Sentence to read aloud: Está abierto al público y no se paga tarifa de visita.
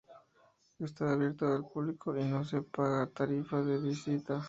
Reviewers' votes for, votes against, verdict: 4, 0, accepted